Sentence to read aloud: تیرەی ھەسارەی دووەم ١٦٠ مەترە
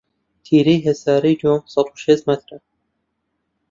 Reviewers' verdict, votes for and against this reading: rejected, 0, 2